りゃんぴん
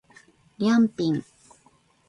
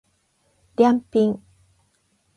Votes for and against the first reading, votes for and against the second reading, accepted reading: 0, 2, 8, 0, second